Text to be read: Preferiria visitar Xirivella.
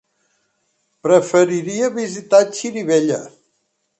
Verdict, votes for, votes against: accepted, 3, 0